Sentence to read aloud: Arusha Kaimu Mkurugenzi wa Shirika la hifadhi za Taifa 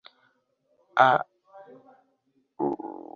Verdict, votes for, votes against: accepted, 2, 1